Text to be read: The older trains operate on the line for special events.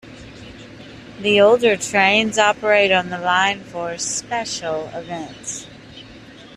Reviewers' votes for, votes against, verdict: 2, 0, accepted